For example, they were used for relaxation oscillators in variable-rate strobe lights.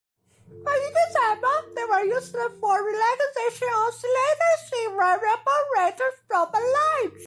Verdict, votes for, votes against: rejected, 0, 2